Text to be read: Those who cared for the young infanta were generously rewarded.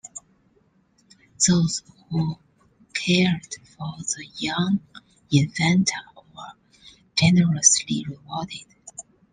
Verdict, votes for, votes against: accepted, 2, 0